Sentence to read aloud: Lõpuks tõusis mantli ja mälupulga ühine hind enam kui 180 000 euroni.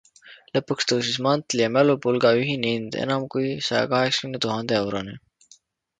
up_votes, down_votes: 0, 2